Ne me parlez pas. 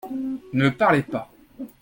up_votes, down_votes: 1, 2